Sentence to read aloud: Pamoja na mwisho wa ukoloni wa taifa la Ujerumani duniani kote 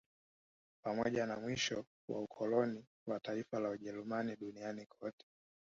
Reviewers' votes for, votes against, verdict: 0, 2, rejected